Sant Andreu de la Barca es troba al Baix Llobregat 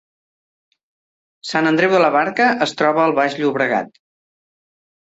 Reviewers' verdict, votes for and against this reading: rejected, 0, 2